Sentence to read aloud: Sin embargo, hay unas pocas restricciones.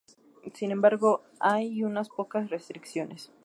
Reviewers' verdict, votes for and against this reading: accepted, 4, 0